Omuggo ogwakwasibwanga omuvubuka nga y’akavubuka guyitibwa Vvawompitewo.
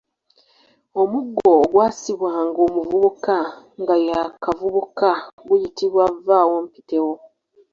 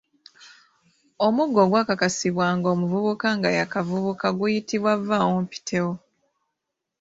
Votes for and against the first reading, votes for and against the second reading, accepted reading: 0, 2, 2, 1, second